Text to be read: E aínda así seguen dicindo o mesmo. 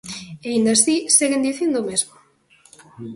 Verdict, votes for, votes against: accepted, 2, 0